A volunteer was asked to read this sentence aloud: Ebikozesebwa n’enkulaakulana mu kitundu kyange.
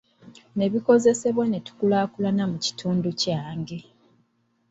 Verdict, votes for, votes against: rejected, 1, 2